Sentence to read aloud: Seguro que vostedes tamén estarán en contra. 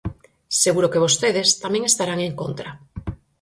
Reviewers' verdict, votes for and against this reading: accepted, 6, 0